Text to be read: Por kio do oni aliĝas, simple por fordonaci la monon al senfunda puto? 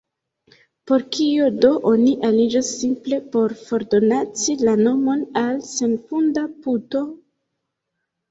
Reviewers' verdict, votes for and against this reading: rejected, 1, 2